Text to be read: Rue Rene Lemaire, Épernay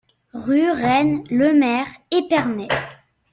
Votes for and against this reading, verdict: 0, 2, rejected